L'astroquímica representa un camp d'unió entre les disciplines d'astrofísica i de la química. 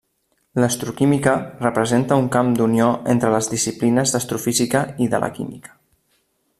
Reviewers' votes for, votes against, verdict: 3, 0, accepted